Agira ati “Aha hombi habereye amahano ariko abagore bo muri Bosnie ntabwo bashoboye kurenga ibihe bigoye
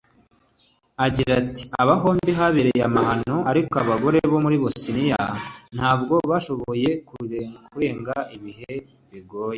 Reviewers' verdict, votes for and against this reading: accepted, 3, 1